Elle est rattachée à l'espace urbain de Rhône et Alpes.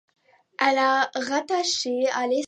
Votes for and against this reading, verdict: 1, 2, rejected